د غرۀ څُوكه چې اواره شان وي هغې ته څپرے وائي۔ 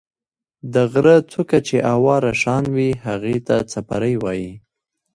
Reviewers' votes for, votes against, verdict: 0, 2, rejected